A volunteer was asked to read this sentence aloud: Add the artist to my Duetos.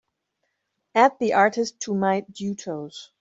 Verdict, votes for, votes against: accepted, 3, 1